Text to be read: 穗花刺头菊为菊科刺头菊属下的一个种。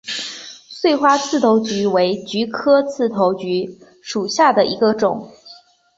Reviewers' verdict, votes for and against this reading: accepted, 2, 1